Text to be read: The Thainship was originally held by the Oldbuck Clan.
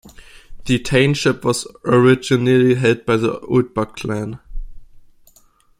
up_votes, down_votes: 2, 0